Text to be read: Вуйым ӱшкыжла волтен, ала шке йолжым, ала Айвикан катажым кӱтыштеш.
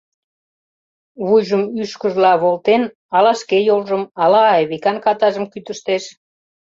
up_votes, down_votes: 0, 2